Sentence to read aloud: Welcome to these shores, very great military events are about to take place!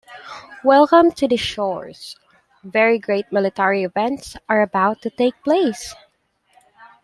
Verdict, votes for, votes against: accepted, 2, 1